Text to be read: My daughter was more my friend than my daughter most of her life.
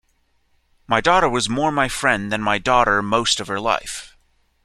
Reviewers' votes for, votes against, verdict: 2, 0, accepted